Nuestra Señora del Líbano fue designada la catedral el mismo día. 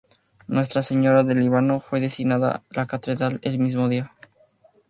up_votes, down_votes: 2, 0